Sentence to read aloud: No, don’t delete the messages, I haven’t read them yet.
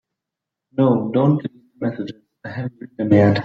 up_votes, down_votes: 1, 2